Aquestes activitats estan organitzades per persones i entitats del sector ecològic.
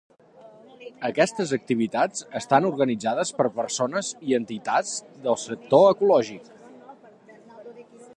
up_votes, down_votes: 3, 0